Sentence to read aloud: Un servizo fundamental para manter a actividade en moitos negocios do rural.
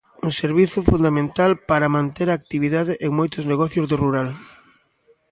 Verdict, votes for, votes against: accepted, 2, 1